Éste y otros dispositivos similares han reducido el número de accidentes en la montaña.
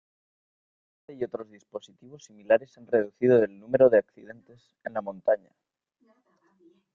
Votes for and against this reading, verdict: 0, 2, rejected